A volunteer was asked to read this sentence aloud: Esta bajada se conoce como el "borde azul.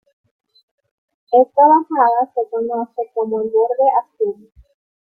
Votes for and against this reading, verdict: 1, 2, rejected